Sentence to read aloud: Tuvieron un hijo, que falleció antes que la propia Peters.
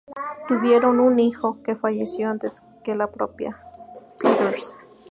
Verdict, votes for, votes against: accepted, 2, 0